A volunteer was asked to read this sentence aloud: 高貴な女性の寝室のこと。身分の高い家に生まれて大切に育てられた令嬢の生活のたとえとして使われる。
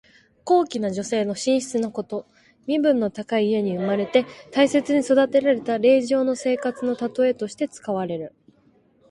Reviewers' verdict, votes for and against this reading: accepted, 2, 1